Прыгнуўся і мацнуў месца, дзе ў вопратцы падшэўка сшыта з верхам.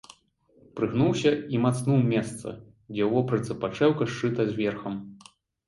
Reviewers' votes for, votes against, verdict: 2, 0, accepted